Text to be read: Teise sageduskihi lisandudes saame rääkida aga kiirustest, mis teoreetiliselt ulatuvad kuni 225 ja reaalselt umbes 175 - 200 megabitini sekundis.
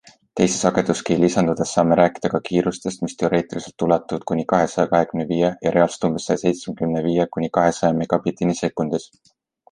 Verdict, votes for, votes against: rejected, 0, 2